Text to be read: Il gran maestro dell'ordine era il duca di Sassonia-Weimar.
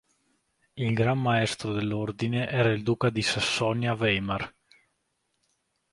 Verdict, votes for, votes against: accepted, 2, 0